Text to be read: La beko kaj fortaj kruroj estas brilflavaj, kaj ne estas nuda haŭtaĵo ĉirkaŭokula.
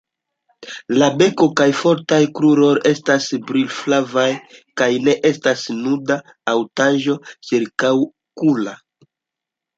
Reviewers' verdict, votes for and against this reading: accepted, 2, 0